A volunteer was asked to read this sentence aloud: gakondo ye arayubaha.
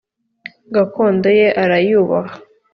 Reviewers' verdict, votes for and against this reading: accepted, 4, 0